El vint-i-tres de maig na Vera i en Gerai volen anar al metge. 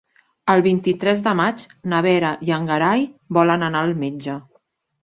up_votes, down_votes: 3, 4